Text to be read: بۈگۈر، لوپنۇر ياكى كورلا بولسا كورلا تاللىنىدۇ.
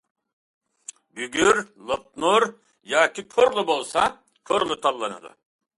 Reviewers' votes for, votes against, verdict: 2, 0, accepted